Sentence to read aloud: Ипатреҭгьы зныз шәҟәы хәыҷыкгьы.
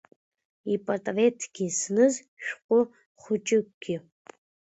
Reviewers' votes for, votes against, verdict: 2, 0, accepted